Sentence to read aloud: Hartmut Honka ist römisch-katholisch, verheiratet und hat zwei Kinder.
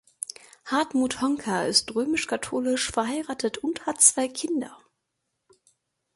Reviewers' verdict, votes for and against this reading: accepted, 2, 0